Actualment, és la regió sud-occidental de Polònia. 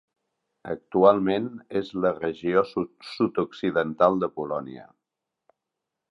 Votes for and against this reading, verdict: 0, 4, rejected